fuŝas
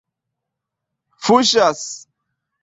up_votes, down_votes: 2, 0